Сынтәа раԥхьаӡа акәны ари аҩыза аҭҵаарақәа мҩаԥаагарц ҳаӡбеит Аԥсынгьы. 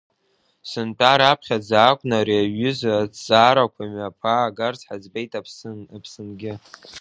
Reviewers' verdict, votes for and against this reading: rejected, 1, 2